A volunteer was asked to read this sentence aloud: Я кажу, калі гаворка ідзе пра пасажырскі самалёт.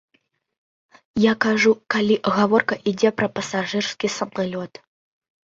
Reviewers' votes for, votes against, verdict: 2, 0, accepted